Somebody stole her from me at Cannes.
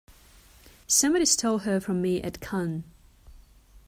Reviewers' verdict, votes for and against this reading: accepted, 2, 0